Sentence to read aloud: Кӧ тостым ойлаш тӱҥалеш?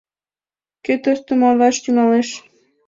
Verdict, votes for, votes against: accepted, 3, 0